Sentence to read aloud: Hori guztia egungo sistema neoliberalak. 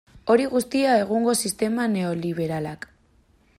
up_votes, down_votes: 2, 0